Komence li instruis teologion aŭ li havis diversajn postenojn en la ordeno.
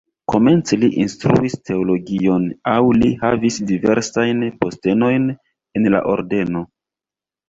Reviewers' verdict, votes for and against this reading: accepted, 2, 0